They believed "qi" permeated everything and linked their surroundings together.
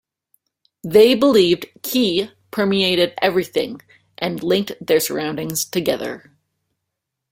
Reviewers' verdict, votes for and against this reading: accepted, 2, 0